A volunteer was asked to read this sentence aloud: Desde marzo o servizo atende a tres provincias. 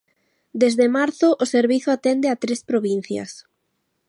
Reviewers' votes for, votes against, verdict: 2, 0, accepted